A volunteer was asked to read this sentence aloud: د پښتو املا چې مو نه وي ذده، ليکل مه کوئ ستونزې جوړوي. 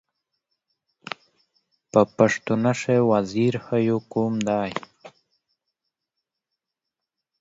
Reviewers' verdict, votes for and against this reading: rejected, 0, 2